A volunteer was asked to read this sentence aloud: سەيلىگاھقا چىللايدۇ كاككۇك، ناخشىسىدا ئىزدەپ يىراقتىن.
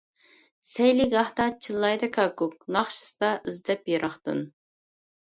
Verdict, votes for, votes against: rejected, 0, 2